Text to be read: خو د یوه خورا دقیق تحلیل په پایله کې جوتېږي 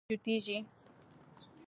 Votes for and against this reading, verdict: 1, 2, rejected